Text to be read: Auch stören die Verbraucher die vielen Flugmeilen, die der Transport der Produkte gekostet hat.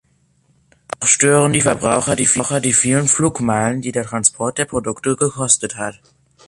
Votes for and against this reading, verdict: 0, 3, rejected